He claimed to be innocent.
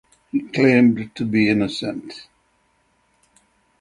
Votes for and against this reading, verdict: 3, 6, rejected